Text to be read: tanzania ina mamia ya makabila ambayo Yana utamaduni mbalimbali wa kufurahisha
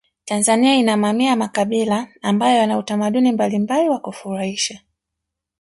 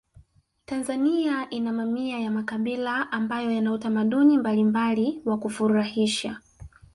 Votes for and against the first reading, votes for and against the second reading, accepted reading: 1, 2, 3, 0, second